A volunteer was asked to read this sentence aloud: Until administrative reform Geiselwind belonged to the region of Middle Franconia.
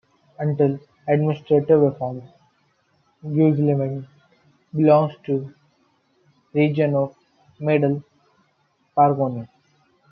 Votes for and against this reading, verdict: 1, 2, rejected